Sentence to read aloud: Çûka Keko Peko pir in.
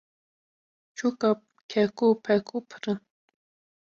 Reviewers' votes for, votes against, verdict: 0, 2, rejected